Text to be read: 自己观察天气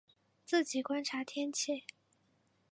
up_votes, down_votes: 0, 2